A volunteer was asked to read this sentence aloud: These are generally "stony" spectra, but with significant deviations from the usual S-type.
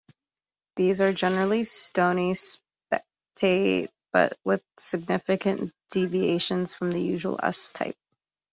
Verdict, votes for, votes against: rejected, 0, 2